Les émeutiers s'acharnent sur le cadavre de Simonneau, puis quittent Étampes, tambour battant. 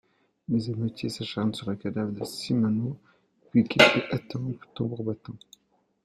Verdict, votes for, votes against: rejected, 1, 2